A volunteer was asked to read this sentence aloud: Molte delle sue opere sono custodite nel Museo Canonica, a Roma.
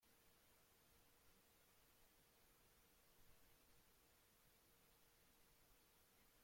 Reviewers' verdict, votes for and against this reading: rejected, 0, 2